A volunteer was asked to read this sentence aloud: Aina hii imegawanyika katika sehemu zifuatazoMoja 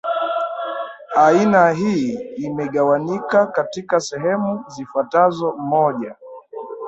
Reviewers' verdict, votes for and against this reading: rejected, 1, 2